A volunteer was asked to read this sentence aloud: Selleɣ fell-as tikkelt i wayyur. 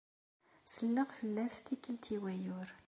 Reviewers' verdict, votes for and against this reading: accepted, 2, 0